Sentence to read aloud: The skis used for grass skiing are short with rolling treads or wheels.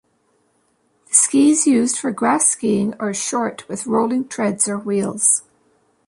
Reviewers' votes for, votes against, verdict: 1, 2, rejected